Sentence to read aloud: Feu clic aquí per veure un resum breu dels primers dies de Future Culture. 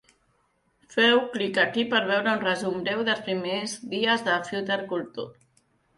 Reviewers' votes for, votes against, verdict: 0, 2, rejected